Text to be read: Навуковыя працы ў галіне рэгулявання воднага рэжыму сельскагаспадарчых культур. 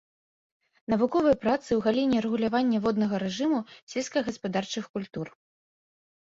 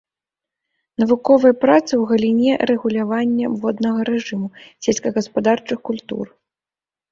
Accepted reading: second